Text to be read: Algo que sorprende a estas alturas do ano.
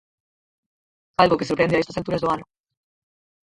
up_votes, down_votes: 2, 4